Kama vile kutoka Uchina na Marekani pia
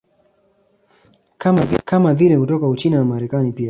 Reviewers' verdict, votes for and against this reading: rejected, 1, 2